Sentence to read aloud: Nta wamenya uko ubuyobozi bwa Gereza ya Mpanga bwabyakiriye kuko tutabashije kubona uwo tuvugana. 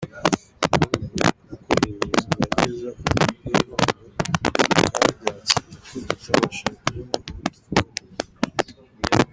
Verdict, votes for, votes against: rejected, 0, 2